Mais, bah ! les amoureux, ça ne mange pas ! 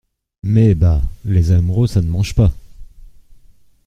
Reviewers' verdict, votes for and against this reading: accepted, 2, 0